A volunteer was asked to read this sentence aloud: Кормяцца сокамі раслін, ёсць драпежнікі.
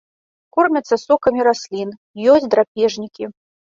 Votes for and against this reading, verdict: 1, 2, rejected